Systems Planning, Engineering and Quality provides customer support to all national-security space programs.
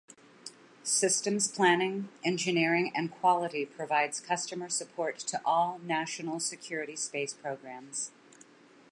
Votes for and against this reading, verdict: 2, 0, accepted